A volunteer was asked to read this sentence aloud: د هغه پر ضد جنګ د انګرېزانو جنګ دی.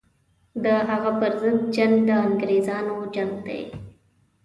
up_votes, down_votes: 2, 0